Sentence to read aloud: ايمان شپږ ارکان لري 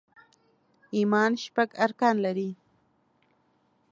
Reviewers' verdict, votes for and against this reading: accepted, 2, 0